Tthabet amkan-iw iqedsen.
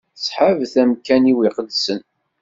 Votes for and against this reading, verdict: 2, 1, accepted